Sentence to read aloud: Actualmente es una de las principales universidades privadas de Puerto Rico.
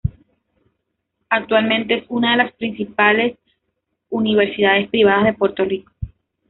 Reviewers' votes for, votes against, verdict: 1, 2, rejected